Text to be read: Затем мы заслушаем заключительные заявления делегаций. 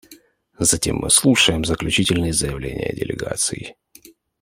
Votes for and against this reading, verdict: 1, 2, rejected